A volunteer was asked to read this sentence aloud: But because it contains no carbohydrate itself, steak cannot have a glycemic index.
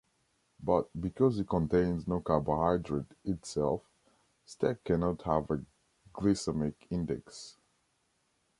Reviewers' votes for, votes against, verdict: 1, 2, rejected